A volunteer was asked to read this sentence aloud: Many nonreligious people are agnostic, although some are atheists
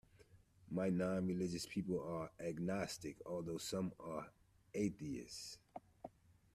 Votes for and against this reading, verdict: 0, 2, rejected